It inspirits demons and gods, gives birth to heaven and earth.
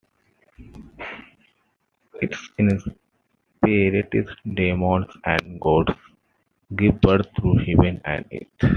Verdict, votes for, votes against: rejected, 1, 2